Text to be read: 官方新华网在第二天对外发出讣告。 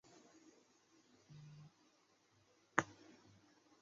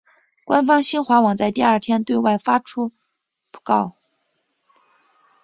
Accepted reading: second